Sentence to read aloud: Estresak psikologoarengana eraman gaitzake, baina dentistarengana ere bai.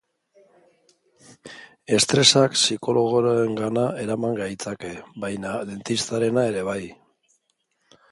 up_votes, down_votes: 0, 2